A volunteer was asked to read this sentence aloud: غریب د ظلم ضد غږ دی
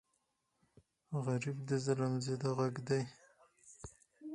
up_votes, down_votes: 4, 0